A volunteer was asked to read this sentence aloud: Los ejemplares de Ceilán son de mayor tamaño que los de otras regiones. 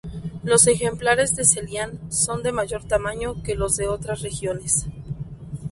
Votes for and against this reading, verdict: 2, 0, accepted